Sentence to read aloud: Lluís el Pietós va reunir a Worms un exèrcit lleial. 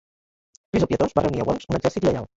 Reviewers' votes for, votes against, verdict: 1, 2, rejected